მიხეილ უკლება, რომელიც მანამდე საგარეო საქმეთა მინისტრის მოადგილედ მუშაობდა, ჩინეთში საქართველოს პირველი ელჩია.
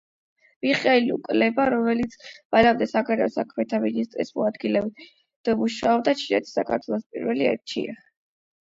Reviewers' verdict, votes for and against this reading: rejected, 4, 8